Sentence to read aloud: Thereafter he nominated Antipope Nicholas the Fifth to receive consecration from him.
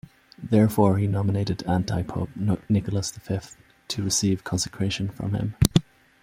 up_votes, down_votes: 0, 2